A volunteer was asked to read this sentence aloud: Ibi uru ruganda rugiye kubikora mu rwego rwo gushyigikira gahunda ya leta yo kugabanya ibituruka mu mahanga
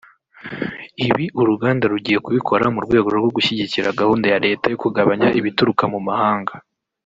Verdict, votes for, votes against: rejected, 1, 2